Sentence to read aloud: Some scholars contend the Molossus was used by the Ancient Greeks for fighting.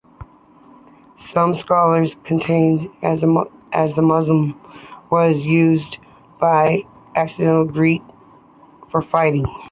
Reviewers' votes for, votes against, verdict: 2, 3, rejected